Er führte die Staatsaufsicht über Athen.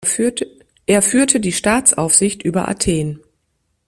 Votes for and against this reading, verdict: 0, 3, rejected